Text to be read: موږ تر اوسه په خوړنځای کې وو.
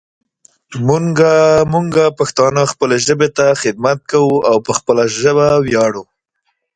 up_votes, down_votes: 0, 2